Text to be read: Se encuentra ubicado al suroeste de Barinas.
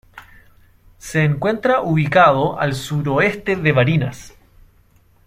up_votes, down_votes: 1, 2